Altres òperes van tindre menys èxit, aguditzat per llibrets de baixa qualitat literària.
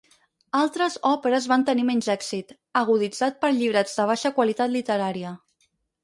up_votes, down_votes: 2, 4